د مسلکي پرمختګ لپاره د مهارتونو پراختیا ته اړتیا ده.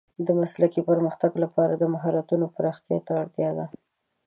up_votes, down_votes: 2, 0